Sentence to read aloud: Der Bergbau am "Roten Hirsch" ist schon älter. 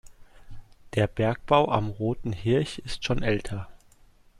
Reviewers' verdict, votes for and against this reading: rejected, 0, 2